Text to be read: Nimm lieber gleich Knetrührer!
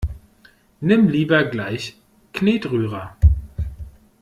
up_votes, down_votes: 2, 0